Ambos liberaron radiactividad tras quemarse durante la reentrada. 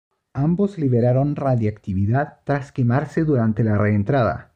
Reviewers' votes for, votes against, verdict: 2, 0, accepted